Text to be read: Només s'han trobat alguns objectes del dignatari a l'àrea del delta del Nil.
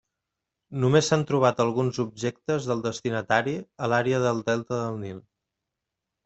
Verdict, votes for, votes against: rejected, 0, 2